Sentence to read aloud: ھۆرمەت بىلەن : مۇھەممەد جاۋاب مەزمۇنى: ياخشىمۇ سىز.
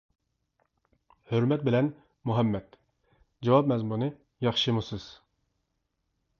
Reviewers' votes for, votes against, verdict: 2, 0, accepted